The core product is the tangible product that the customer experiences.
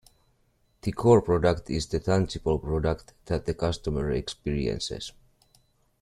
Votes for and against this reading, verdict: 2, 0, accepted